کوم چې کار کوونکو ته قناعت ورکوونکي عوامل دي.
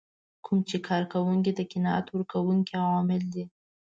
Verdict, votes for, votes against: accepted, 2, 1